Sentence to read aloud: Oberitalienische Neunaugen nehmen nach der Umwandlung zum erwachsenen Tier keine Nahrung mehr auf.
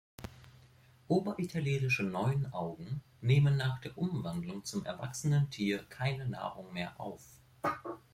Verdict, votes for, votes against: rejected, 1, 2